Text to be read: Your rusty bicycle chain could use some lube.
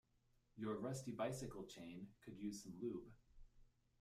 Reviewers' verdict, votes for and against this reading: rejected, 0, 2